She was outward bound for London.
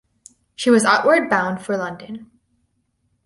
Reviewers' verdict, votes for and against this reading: accepted, 4, 0